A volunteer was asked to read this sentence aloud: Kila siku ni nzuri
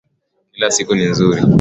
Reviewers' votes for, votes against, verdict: 3, 0, accepted